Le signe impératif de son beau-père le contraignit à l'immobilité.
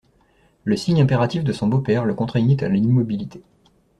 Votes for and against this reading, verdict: 2, 0, accepted